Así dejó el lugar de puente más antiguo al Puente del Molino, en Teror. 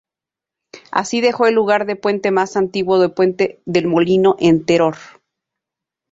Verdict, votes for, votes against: rejected, 0, 2